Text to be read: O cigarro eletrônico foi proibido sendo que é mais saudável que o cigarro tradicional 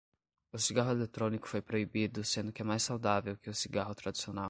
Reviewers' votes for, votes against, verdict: 5, 0, accepted